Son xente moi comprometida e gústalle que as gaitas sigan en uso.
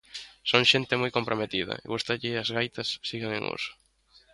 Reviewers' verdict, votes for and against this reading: rejected, 1, 2